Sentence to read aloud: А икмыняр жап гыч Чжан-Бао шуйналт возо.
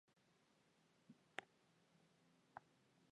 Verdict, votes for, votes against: rejected, 0, 2